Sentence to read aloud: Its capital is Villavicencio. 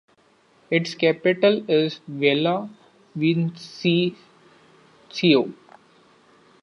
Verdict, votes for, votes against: rejected, 0, 2